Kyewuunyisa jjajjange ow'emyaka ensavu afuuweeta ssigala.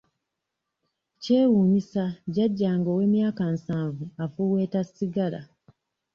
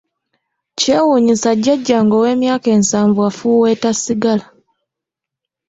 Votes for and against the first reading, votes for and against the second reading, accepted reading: 1, 2, 2, 0, second